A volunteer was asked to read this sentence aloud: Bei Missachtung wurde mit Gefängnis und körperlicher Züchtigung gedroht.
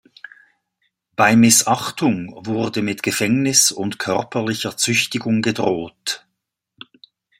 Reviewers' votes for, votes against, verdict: 2, 0, accepted